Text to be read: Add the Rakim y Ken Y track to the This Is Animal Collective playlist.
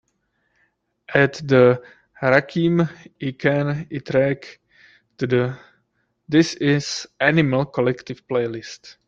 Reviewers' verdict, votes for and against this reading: accepted, 2, 0